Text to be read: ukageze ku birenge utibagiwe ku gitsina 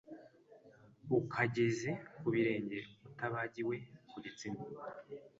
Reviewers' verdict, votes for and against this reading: accepted, 2, 0